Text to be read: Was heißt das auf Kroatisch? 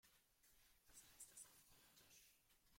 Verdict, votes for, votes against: rejected, 0, 2